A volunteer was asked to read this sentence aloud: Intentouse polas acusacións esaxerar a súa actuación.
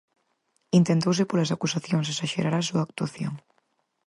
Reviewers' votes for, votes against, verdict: 4, 0, accepted